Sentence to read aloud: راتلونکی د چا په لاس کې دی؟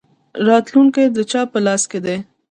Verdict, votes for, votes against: rejected, 0, 2